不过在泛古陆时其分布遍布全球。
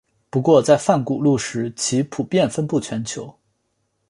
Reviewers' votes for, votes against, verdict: 3, 0, accepted